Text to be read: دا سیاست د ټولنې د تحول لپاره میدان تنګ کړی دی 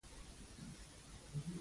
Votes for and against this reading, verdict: 0, 2, rejected